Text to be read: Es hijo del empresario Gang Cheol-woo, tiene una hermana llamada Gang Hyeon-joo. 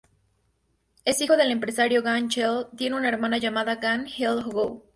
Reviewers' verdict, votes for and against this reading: rejected, 2, 2